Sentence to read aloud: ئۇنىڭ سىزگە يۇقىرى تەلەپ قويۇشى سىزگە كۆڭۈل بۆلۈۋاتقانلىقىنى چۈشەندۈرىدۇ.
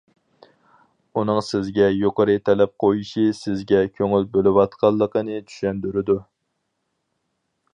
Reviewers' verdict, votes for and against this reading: accepted, 4, 0